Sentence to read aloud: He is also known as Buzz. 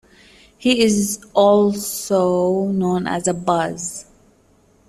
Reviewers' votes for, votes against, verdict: 1, 2, rejected